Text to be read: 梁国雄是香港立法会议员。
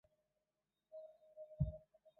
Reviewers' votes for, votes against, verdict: 0, 2, rejected